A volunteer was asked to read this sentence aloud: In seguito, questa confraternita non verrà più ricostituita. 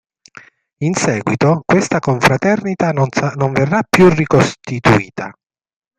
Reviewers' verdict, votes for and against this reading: rejected, 1, 3